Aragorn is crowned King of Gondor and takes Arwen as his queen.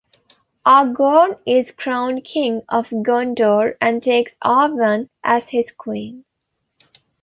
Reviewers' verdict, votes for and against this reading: rejected, 1, 2